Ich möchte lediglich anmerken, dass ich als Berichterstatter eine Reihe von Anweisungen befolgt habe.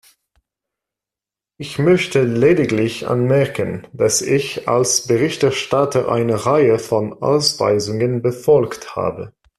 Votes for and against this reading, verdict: 0, 2, rejected